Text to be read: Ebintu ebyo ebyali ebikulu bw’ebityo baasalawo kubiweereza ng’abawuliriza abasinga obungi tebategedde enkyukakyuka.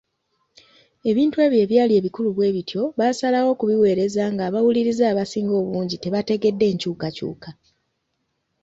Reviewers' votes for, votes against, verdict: 0, 2, rejected